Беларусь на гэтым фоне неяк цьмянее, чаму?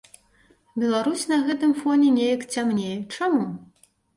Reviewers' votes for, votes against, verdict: 1, 2, rejected